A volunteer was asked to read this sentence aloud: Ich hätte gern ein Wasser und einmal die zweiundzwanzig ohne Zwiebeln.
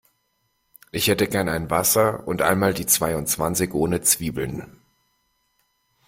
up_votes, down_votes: 2, 0